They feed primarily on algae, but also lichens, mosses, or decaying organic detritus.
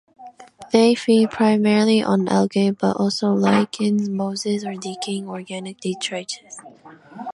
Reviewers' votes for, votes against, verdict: 2, 0, accepted